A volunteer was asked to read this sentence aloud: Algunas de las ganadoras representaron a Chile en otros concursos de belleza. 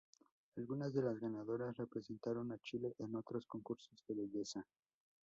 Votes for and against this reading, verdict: 2, 4, rejected